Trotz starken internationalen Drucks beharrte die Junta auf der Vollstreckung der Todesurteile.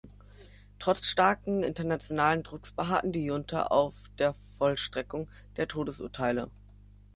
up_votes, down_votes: 0, 2